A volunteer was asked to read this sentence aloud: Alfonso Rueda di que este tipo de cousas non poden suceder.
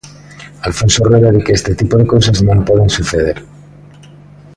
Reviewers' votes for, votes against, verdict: 2, 0, accepted